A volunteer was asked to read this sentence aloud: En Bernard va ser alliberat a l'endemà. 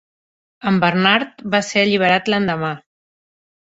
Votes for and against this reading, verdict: 1, 2, rejected